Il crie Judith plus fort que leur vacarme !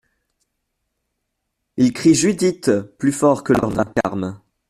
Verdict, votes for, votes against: rejected, 0, 2